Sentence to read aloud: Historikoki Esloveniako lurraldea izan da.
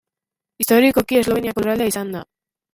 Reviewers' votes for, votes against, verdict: 1, 2, rejected